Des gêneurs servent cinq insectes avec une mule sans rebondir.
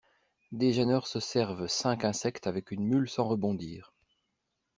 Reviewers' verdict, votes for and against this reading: rejected, 0, 2